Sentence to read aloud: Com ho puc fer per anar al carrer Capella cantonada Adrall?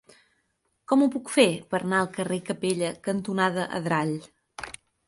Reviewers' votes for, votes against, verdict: 4, 0, accepted